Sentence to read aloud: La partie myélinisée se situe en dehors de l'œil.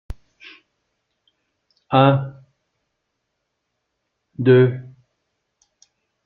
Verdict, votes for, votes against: rejected, 0, 2